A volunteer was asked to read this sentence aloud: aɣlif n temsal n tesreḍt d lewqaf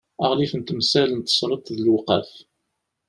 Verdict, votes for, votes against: accepted, 2, 0